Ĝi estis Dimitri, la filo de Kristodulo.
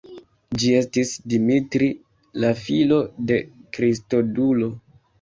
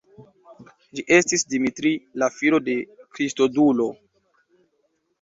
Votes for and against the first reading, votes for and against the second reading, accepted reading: 2, 1, 0, 2, first